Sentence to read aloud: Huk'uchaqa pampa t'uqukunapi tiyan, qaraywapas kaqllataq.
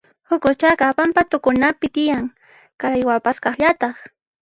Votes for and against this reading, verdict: 1, 2, rejected